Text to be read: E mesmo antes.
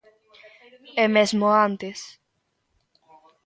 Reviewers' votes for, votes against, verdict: 2, 1, accepted